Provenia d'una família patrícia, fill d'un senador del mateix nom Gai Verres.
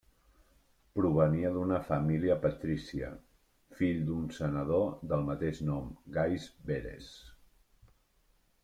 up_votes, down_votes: 1, 2